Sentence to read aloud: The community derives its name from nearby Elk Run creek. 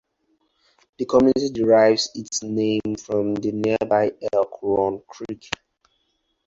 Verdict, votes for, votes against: rejected, 0, 4